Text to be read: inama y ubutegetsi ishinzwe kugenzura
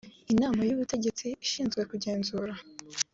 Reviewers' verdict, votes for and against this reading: accepted, 4, 0